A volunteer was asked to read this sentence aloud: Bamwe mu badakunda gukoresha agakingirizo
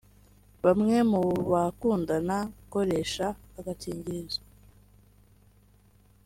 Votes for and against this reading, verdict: 0, 3, rejected